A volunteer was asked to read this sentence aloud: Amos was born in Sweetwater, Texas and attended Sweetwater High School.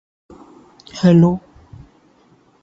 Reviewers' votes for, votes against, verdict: 0, 2, rejected